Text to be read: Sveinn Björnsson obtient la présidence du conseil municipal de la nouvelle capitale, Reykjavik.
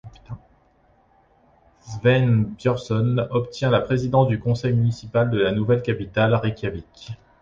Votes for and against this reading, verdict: 1, 2, rejected